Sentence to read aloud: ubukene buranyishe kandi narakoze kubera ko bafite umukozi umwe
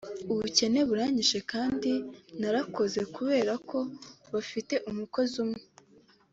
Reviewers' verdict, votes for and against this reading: accepted, 4, 0